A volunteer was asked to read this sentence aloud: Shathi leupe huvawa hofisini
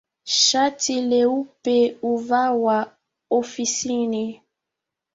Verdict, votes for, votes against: accepted, 2, 1